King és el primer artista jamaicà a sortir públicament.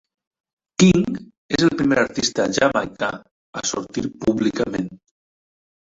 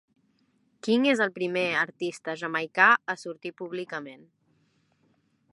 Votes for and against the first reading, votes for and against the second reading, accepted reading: 0, 2, 3, 1, second